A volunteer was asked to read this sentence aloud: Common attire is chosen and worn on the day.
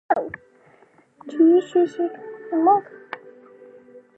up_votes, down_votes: 0, 2